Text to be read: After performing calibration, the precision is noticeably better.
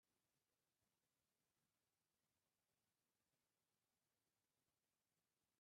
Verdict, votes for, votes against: rejected, 0, 2